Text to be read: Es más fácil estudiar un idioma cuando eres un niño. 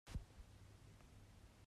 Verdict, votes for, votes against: rejected, 0, 2